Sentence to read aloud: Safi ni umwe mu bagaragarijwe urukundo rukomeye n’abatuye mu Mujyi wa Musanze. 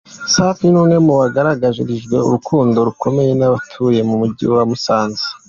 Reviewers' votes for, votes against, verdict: 2, 0, accepted